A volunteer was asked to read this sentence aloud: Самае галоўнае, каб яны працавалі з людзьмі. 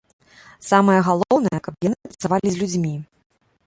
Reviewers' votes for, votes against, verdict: 0, 2, rejected